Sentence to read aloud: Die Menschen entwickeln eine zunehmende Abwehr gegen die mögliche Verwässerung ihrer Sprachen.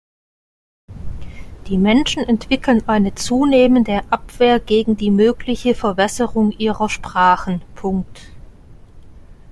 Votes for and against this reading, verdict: 0, 2, rejected